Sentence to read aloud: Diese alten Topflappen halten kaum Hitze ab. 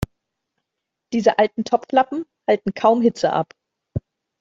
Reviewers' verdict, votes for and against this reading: rejected, 1, 2